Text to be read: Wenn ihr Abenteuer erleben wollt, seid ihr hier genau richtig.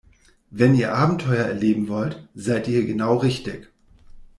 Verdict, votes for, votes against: rejected, 2, 3